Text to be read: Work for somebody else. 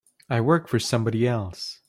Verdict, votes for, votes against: rejected, 0, 3